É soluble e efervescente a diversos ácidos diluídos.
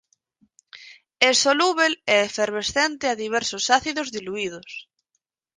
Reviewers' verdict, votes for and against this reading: rejected, 2, 4